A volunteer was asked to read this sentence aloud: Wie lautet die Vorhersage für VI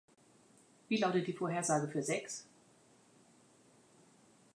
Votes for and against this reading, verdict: 2, 0, accepted